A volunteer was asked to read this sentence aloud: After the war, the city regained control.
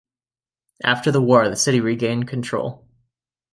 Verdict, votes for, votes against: accepted, 2, 0